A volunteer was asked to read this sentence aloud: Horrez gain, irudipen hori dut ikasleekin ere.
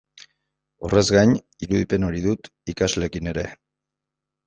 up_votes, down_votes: 2, 0